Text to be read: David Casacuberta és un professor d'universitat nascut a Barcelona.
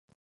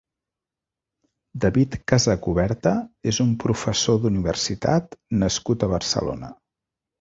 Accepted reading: second